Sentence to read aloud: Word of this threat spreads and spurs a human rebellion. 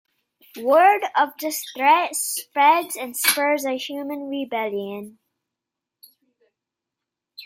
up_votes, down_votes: 2, 0